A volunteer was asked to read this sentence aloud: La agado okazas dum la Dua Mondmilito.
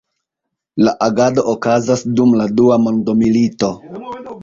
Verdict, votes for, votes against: rejected, 1, 2